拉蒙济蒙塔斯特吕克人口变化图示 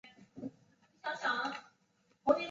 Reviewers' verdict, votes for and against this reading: rejected, 0, 2